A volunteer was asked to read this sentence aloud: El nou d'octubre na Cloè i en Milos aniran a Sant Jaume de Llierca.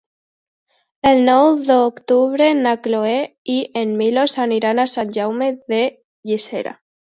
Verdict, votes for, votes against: rejected, 1, 2